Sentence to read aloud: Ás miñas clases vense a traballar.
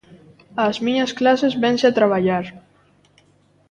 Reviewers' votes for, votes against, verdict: 0, 2, rejected